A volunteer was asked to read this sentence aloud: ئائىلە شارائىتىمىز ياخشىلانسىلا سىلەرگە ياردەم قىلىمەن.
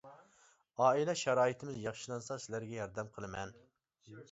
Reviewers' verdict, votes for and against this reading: rejected, 0, 2